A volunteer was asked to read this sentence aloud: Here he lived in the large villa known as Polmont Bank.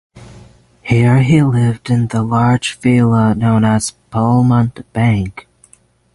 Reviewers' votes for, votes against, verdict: 6, 0, accepted